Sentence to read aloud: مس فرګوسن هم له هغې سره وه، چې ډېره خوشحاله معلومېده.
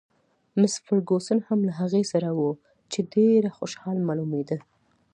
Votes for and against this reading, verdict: 2, 0, accepted